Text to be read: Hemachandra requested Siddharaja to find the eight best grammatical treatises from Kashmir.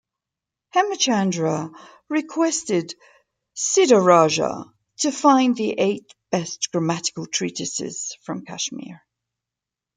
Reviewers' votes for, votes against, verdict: 2, 0, accepted